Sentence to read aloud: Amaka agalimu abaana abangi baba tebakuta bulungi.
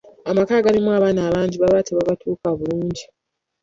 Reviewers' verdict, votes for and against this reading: rejected, 0, 2